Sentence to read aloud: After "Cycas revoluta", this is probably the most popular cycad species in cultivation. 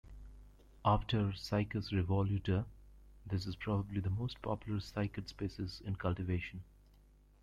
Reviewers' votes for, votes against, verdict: 2, 0, accepted